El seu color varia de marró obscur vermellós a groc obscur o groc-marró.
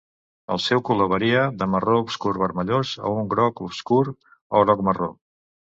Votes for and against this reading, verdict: 1, 2, rejected